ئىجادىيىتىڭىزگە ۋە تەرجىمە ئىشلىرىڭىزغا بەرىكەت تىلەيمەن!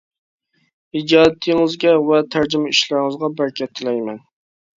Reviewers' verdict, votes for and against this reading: rejected, 1, 2